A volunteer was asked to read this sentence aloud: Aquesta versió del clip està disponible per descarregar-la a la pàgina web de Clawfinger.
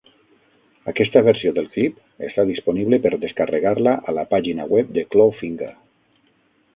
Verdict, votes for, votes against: accepted, 6, 0